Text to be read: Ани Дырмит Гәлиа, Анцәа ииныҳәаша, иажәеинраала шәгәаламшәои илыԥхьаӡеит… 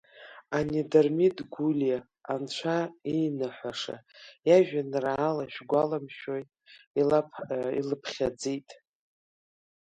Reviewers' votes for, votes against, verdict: 0, 3, rejected